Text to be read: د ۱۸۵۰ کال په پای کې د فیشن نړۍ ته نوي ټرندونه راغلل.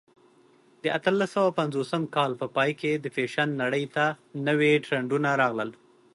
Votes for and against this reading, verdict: 0, 2, rejected